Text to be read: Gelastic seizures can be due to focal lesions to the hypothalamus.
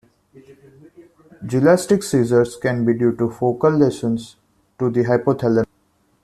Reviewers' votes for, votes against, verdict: 0, 2, rejected